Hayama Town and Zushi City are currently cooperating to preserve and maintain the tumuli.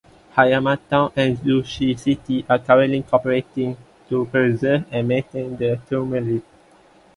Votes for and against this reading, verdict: 2, 0, accepted